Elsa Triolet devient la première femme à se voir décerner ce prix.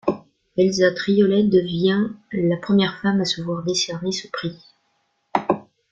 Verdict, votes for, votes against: accepted, 2, 1